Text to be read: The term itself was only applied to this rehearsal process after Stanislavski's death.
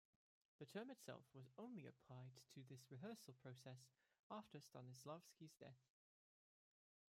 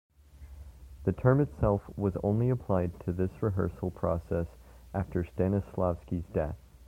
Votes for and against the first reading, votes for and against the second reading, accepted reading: 0, 3, 2, 0, second